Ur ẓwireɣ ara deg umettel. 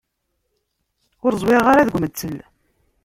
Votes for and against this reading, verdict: 1, 2, rejected